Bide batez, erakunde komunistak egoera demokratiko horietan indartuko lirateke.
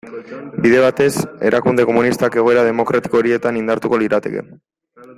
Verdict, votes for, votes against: accepted, 2, 0